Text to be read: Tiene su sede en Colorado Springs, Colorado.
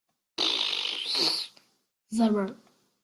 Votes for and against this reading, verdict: 0, 2, rejected